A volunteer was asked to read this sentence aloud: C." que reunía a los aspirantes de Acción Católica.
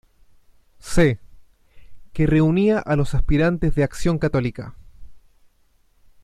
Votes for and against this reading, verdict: 1, 2, rejected